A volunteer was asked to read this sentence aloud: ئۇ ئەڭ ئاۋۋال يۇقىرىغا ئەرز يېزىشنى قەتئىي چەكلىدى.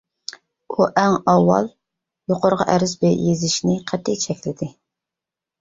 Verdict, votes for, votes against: rejected, 0, 2